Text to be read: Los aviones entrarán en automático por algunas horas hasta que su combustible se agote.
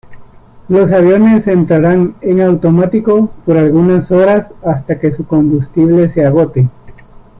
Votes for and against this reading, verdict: 2, 0, accepted